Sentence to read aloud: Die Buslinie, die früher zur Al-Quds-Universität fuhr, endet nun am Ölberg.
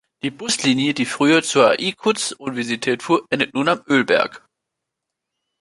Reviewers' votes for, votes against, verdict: 0, 3, rejected